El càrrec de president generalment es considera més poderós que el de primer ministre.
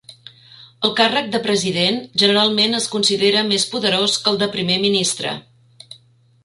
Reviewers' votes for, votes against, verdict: 3, 1, accepted